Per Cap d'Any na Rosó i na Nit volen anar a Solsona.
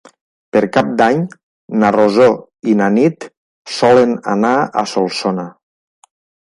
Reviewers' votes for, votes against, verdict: 0, 2, rejected